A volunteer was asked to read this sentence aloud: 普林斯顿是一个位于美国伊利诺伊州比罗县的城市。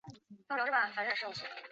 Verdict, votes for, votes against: accepted, 3, 1